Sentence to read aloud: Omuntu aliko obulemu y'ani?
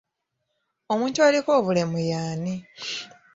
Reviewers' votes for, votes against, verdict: 2, 1, accepted